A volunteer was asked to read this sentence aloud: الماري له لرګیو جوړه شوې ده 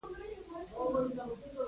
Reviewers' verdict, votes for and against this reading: rejected, 0, 2